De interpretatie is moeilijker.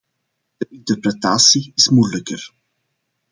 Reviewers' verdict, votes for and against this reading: rejected, 0, 2